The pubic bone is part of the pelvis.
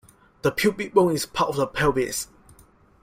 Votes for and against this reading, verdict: 2, 1, accepted